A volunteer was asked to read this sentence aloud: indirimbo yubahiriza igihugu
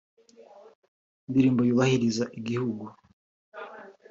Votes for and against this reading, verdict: 1, 2, rejected